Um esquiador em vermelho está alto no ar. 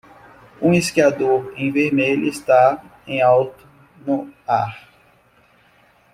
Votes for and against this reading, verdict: 0, 2, rejected